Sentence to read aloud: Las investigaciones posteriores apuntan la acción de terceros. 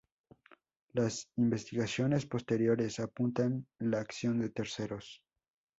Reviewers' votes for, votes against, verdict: 2, 2, rejected